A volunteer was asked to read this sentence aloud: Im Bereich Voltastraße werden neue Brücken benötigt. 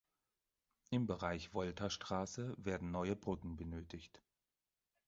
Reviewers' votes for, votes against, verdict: 4, 0, accepted